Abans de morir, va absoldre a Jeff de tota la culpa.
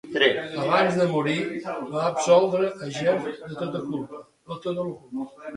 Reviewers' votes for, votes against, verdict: 0, 2, rejected